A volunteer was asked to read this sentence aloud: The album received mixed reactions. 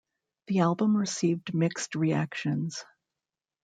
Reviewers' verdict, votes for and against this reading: rejected, 0, 2